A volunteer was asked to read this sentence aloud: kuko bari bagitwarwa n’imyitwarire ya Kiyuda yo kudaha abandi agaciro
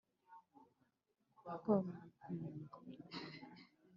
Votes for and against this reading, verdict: 1, 2, rejected